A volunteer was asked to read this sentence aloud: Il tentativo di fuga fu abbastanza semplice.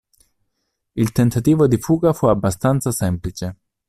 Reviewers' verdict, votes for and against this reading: accepted, 2, 0